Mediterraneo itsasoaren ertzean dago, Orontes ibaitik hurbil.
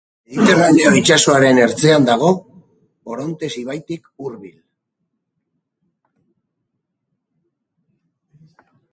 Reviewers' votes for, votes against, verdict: 2, 2, rejected